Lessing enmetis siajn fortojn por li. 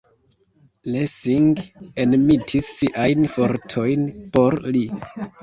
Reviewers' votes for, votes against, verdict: 1, 2, rejected